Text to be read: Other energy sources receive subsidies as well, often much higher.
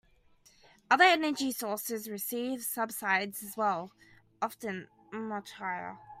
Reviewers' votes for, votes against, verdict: 0, 2, rejected